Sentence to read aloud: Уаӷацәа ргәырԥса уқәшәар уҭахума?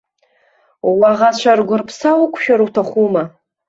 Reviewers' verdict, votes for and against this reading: accepted, 2, 0